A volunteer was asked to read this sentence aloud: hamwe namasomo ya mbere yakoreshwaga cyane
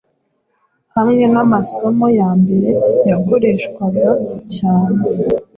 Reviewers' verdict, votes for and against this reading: accepted, 2, 0